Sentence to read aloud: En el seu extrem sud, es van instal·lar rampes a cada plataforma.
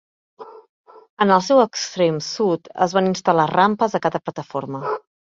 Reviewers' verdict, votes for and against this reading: rejected, 1, 2